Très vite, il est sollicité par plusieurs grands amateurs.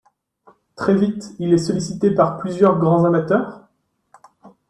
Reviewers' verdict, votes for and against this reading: accepted, 2, 0